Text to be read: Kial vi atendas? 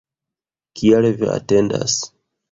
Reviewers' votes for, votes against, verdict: 2, 0, accepted